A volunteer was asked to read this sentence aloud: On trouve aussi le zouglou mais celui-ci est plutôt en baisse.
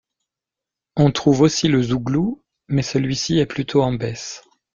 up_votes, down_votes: 2, 0